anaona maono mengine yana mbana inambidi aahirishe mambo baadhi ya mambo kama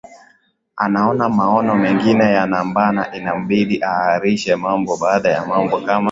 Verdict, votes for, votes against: rejected, 1, 2